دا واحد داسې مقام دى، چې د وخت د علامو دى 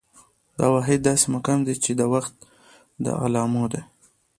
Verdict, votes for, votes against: rejected, 0, 2